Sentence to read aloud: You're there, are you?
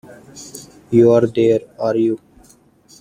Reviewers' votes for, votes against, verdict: 1, 2, rejected